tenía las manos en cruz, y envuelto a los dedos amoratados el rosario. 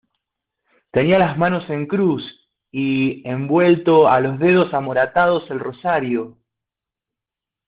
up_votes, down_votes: 1, 2